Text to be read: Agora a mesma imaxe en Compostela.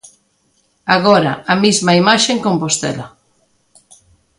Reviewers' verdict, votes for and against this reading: rejected, 1, 2